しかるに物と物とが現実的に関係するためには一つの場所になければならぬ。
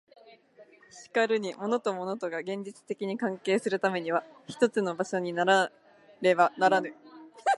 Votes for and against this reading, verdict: 0, 2, rejected